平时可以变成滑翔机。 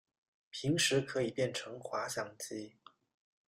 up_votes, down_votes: 2, 0